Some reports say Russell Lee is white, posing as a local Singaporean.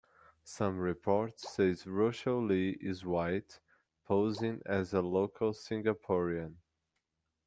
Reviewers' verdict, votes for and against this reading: accepted, 2, 1